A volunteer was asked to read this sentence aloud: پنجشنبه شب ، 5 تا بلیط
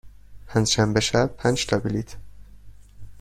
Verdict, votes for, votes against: rejected, 0, 2